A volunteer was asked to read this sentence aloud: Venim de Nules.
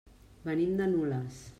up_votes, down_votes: 3, 0